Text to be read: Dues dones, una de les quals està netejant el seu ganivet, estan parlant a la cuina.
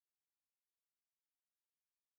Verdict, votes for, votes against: rejected, 0, 2